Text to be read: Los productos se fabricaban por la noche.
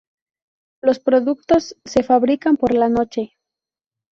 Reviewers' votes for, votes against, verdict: 0, 2, rejected